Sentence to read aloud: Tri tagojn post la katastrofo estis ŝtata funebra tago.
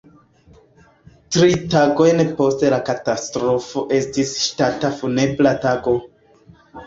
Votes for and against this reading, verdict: 1, 2, rejected